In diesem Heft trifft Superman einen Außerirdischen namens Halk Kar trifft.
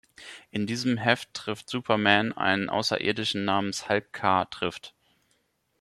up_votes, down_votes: 2, 0